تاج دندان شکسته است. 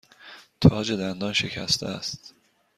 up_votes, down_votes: 2, 0